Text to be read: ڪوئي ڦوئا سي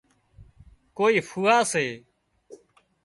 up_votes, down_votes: 2, 0